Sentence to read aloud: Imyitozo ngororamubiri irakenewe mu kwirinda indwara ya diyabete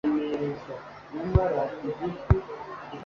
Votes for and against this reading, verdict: 0, 2, rejected